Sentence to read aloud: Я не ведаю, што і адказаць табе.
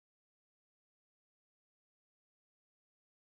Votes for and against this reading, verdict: 0, 2, rejected